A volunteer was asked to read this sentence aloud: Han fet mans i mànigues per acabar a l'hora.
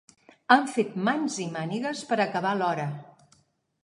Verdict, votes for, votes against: accepted, 2, 0